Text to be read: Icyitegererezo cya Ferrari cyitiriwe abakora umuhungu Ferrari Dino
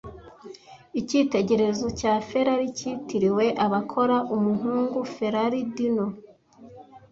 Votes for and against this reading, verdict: 1, 2, rejected